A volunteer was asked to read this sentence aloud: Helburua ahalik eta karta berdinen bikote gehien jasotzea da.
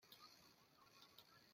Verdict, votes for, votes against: rejected, 0, 2